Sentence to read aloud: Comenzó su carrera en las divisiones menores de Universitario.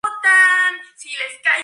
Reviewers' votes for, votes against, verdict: 0, 2, rejected